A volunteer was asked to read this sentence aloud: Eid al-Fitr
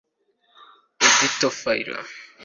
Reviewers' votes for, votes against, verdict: 1, 2, rejected